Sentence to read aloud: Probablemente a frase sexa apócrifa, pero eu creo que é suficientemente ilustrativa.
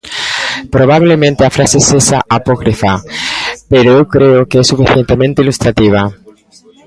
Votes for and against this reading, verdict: 1, 2, rejected